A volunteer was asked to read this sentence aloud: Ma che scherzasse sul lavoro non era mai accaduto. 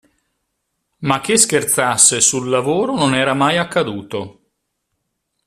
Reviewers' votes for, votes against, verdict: 2, 0, accepted